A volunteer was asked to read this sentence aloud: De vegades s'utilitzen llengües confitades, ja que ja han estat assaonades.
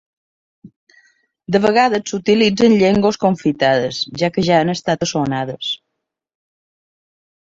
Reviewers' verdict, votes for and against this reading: rejected, 1, 2